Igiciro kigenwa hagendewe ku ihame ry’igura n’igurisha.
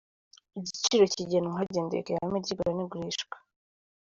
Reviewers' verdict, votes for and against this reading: rejected, 0, 2